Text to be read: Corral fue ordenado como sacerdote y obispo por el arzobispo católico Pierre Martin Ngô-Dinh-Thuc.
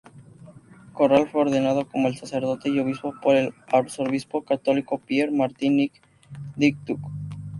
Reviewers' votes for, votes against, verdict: 0, 2, rejected